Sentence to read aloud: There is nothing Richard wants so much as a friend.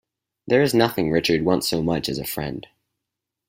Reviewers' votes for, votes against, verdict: 2, 4, rejected